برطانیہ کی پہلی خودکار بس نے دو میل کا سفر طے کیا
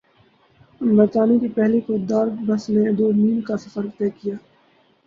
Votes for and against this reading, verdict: 2, 0, accepted